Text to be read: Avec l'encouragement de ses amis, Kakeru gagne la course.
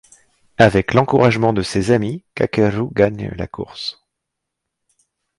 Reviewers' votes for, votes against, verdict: 2, 0, accepted